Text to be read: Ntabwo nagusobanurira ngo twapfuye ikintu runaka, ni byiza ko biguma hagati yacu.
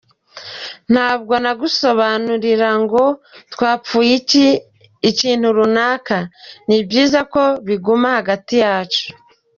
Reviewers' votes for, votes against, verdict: 1, 2, rejected